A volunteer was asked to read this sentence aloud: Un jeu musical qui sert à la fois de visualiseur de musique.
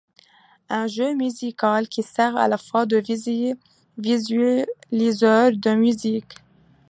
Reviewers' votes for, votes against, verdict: 0, 2, rejected